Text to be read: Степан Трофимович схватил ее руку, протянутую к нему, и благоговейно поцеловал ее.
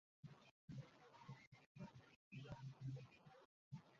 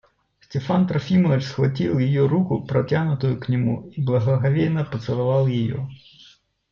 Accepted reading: second